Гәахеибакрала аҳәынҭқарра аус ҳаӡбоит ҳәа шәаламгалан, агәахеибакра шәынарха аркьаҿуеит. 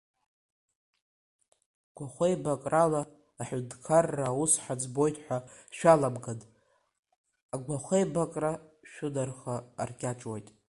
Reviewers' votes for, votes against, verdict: 0, 2, rejected